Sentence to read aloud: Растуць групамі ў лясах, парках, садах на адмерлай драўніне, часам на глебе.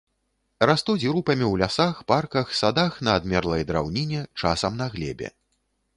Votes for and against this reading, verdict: 3, 0, accepted